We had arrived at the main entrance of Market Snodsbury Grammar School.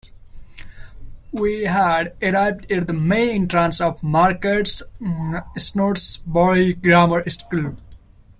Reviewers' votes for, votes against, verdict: 1, 2, rejected